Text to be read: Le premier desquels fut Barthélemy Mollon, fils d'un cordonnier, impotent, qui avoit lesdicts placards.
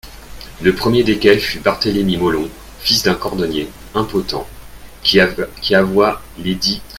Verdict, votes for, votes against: rejected, 0, 2